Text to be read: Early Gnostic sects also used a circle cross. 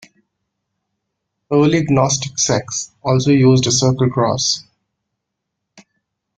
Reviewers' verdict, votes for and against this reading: accepted, 2, 0